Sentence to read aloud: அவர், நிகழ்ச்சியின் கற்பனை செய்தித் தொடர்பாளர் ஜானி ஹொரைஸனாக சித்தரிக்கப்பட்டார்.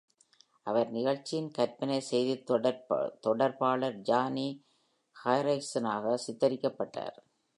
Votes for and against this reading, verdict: 1, 2, rejected